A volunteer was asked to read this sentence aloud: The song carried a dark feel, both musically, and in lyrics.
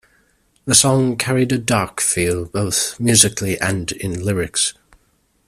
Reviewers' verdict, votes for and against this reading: accepted, 2, 0